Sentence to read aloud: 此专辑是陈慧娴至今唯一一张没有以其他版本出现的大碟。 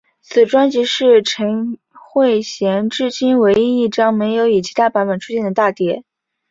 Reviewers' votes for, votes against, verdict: 6, 1, accepted